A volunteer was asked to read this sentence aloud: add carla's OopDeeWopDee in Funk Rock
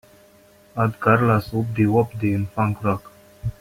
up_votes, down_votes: 3, 0